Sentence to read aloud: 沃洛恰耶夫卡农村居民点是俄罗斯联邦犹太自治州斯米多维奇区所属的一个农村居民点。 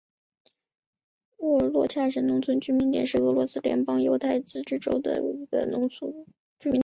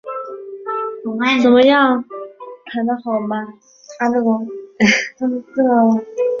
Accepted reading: first